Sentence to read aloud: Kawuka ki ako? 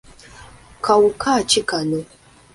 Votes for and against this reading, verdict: 1, 2, rejected